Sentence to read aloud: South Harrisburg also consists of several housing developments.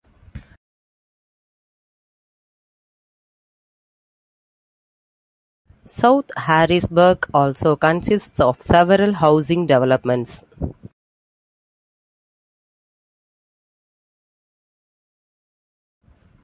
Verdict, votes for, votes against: rejected, 1, 2